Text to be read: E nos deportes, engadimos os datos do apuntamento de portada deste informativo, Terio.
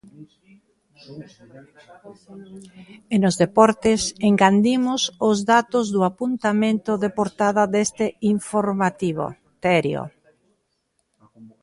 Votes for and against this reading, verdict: 0, 2, rejected